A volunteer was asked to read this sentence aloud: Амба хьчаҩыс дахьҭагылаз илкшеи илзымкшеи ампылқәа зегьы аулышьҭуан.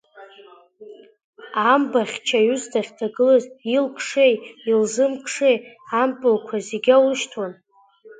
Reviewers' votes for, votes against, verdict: 2, 1, accepted